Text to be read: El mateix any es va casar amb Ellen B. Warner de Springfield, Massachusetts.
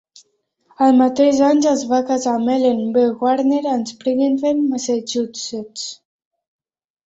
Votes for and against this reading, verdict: 0, 2, rejected